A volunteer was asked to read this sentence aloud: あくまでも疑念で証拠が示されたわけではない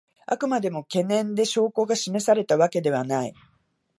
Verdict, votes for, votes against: rejected, 1, 2